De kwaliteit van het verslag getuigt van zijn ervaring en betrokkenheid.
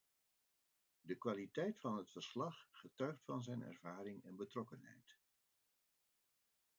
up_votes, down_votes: 0, 2